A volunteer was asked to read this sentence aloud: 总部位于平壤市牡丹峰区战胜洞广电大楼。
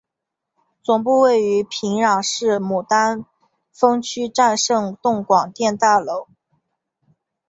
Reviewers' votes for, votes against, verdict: 3, 0, accepted